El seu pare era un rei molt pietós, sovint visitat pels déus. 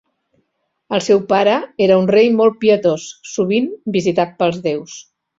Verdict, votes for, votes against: accepted, 2, 0